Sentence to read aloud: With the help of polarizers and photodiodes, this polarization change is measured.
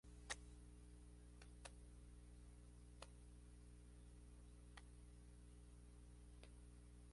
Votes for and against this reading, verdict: 0, 2, rejected